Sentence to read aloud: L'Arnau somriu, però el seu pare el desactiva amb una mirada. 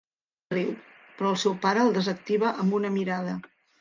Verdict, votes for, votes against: rejected, 0, 2